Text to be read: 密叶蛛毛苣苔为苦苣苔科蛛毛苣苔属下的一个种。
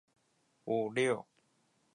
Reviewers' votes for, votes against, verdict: 0, 4, rejected